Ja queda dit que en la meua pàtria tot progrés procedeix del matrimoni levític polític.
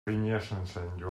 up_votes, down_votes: 0, 2